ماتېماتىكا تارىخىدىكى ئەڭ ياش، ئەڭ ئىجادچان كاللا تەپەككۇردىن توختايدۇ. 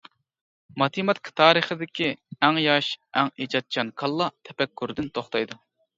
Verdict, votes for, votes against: accepted, 2, 0